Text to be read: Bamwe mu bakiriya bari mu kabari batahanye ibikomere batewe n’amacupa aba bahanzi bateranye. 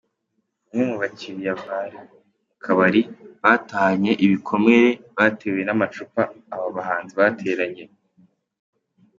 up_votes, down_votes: 2, 1